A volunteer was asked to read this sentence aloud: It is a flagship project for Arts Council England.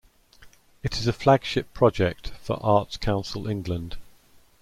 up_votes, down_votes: 2, 0